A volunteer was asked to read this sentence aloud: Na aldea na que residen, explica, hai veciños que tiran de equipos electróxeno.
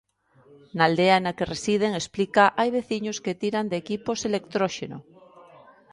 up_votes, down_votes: 0, 2